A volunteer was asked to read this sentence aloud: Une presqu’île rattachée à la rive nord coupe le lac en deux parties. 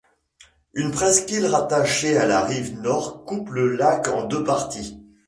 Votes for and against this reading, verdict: 2, 0, accepted